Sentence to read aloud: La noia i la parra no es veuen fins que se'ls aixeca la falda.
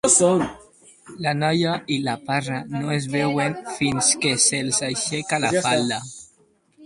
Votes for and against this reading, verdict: 2, 2, rejected